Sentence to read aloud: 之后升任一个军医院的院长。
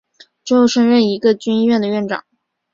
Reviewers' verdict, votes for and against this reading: accepted, 2, 0